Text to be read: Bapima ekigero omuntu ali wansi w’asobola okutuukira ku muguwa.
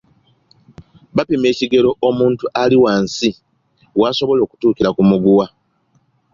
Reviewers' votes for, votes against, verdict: 2, 0, accepted